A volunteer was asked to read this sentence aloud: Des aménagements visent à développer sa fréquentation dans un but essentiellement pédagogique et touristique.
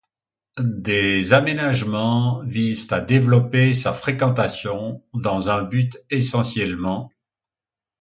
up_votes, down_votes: 0, 3